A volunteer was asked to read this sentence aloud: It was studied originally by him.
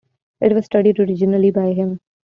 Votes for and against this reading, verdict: 3, 0, accepted